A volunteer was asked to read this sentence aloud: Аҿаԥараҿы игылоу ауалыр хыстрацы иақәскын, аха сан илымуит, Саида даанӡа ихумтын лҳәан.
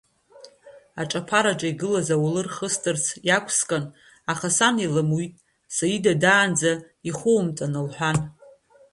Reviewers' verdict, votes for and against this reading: rejected, 1, 2